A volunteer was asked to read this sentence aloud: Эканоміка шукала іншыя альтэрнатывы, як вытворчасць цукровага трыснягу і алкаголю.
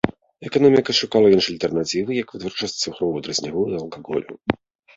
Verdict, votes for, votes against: rejected, 1, 2